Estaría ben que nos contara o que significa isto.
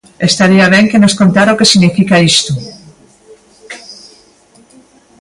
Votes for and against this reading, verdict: 2, 0, accepted